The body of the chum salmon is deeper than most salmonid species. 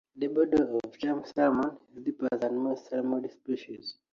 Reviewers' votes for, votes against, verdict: 2, 1, accepted